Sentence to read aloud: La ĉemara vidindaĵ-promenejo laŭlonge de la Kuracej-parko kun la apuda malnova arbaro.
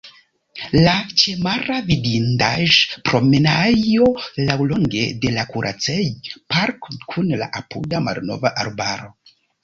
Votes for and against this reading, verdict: 0, 2, rejected